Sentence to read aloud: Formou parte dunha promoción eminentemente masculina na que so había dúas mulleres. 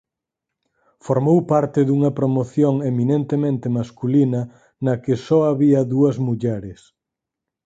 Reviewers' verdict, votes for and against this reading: accepted, 4, 0